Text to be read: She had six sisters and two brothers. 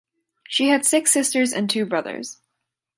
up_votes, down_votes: 2, 0